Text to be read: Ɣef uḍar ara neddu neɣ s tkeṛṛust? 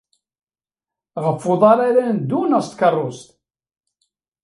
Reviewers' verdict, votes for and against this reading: accepted, 2, 1